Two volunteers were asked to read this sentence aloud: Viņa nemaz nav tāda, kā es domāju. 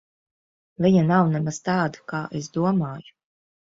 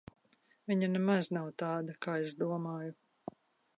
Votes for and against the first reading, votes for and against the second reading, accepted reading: 0, 2, 2, 0, second